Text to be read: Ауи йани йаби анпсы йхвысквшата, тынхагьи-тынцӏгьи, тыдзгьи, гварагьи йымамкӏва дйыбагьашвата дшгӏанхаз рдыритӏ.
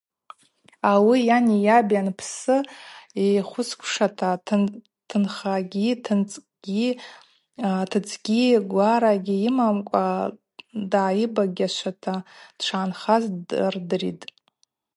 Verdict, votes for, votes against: accepted, 2, 0